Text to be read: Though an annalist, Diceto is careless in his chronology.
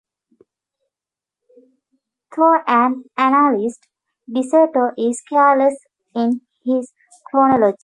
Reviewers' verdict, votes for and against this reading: rejected, 0, 2